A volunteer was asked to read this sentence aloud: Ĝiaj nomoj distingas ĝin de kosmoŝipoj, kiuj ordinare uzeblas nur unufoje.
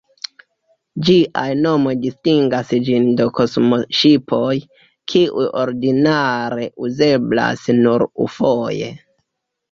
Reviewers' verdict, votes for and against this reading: rejected, 1, 2